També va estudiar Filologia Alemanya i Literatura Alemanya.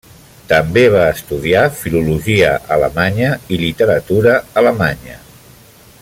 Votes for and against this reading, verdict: 3, 0, accepted